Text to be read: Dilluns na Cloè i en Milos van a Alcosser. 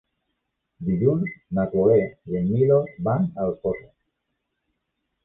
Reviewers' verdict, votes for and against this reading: accepted, 2, 0